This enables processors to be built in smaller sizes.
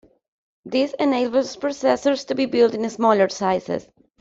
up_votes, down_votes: 1, 2